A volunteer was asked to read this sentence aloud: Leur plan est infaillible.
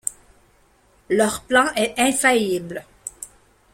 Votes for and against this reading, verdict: 1, 2, rejected